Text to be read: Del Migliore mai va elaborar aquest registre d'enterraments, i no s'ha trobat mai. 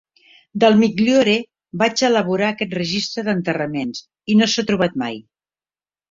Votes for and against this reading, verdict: 1, 2, rejected